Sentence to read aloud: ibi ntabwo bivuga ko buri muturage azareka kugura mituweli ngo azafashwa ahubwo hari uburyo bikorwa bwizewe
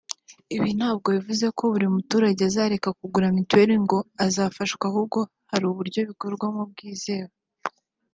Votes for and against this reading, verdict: 2, 0, accepted